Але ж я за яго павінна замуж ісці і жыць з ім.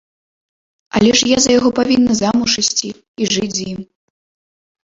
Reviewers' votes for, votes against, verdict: 2, 0, accepted